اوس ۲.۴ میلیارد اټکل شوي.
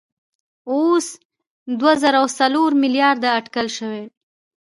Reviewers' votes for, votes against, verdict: 0, 2, rejected